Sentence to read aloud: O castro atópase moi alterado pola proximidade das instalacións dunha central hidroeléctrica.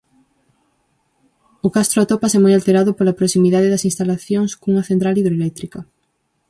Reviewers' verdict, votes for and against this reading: rejected, 0, 4